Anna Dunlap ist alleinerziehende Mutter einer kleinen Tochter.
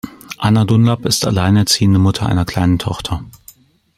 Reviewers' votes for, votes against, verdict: 2, 0, accepted